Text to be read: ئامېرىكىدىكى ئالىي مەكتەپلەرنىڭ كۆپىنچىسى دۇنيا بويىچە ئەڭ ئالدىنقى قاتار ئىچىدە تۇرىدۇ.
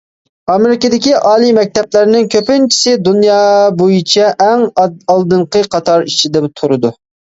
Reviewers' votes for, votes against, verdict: 1, 2, rejected